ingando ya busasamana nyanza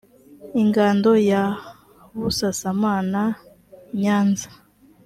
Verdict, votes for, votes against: accepted, 2, 0